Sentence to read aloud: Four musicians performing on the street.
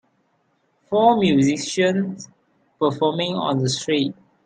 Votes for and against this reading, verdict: 2, 0, accepted